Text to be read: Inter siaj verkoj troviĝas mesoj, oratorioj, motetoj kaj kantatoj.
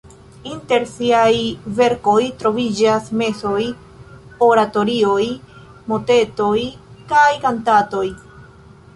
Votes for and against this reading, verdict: 2, 0, accepted